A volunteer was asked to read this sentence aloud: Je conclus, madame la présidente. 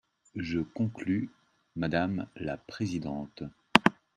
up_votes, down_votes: 2, 0